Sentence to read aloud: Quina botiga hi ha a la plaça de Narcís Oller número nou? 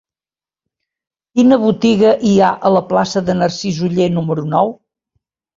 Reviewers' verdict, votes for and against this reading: accepted, 2, 0